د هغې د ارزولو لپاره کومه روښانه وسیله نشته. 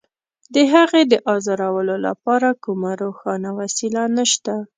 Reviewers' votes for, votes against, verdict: 3, 1, accepted